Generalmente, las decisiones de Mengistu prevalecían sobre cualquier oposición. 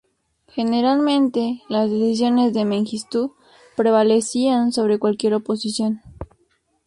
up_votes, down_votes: 2, 2